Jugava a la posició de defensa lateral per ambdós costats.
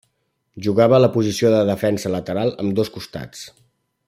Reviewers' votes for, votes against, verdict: 1, 2, rejected